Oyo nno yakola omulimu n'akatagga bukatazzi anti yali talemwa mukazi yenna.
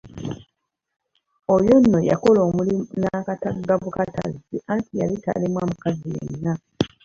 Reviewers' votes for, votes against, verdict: 1, 2, rejected